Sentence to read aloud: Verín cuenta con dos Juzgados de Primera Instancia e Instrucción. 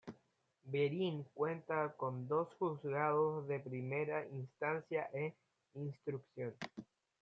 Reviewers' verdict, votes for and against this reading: accepted, 2, 0